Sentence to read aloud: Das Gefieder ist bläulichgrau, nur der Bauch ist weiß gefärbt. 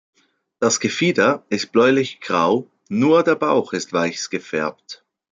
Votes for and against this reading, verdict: 2, 0, accepted